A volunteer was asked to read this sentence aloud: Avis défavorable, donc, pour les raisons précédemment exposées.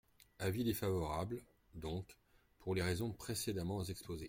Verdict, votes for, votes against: accepted, 2, 0